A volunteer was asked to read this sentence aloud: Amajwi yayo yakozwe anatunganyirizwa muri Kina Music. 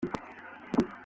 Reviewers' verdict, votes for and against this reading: rejected, 0, 2